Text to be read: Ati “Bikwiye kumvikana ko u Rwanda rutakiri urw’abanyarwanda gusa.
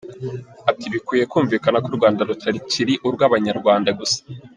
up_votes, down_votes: 2, 1